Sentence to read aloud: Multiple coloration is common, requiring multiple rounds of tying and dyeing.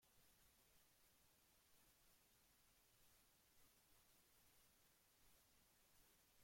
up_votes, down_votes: 0, 2